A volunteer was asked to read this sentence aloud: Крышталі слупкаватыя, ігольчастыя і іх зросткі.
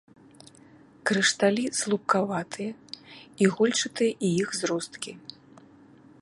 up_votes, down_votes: 1, 2